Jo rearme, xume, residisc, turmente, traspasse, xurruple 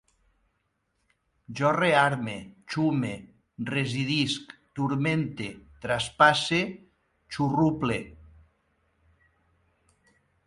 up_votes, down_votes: 4, 0